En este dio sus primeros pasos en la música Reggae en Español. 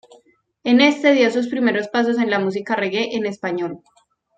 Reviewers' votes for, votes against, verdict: 2, 0, accepted